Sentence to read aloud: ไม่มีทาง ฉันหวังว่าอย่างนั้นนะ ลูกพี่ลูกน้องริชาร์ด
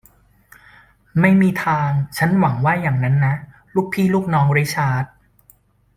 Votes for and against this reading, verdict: 2, 0, accepted